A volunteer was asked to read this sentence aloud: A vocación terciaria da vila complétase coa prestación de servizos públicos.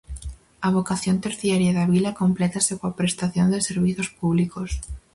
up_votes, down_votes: 4, 0